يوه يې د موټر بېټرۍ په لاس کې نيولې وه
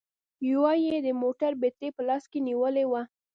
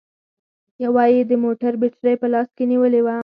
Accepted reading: second